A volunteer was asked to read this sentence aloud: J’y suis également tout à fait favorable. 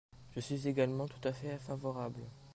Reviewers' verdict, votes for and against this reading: rejected, 0, 2